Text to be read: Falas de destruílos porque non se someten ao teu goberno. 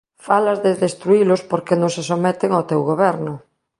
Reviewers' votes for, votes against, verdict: 2, 0, accepted